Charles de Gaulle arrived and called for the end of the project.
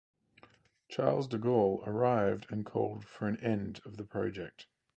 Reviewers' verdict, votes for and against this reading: rejected, 2, 4